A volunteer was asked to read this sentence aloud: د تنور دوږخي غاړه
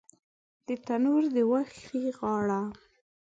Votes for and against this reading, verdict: 1, 2, rejected